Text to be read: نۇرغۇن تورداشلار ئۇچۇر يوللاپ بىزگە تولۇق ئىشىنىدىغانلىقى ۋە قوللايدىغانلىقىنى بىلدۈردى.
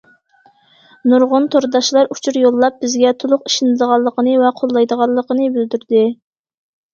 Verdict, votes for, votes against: rejected, 0, 2